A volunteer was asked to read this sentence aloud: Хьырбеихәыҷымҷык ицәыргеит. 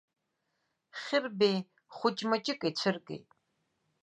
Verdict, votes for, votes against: accepted, 2, 1